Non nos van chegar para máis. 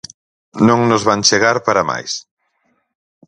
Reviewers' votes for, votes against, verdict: 4, 0, accepted